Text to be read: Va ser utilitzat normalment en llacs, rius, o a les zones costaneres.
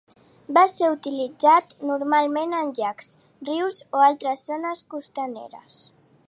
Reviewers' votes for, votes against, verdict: 1, 2, rejected